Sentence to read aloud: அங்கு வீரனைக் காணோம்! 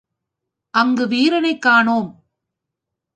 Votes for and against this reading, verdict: 2, 0, accepted